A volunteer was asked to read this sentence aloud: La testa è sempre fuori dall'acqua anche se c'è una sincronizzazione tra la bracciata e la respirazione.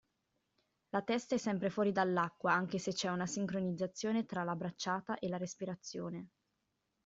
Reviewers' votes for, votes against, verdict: 2, 0, accepted